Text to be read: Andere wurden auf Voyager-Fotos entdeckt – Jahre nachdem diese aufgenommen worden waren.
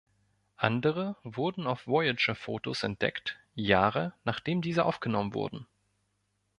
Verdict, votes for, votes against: rejected, 0, 2